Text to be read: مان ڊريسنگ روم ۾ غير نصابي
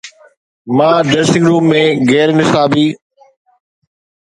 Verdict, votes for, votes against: accepted, 2, 0